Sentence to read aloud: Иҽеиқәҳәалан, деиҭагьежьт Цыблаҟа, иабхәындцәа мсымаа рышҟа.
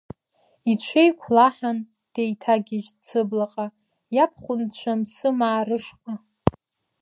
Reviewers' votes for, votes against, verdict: 1, 2, rejected